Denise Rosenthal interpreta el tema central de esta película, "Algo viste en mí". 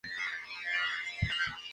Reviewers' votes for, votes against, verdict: 0, 4, rejected